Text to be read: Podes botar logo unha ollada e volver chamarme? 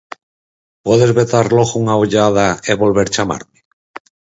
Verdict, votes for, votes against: accepted, 4, 2